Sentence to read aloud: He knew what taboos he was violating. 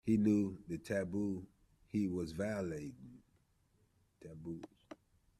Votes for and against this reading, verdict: 2, 1, accepted